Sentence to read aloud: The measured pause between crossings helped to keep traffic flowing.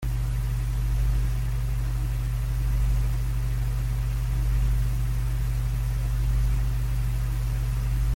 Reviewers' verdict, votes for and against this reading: rejected, 0, 2